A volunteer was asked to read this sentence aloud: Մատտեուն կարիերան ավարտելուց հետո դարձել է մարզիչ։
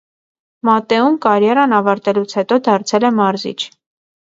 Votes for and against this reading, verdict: 2, 0, accepted